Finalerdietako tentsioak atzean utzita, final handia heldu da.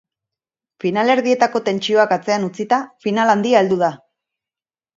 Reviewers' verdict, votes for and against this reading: accepted, 4, 0